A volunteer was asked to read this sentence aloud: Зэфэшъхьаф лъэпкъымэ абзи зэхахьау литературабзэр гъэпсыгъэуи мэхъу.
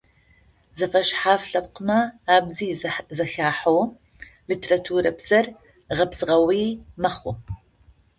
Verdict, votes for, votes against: rejected, 0, 2